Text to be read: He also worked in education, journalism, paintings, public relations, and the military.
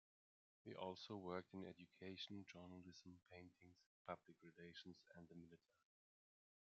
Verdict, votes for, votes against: rejected, 1, 2